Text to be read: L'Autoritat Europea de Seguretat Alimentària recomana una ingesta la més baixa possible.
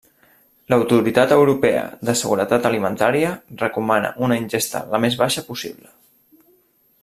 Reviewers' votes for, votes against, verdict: 3, 0, accepted